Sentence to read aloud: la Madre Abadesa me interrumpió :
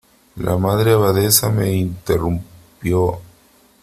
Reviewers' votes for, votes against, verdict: 2, 1, accepted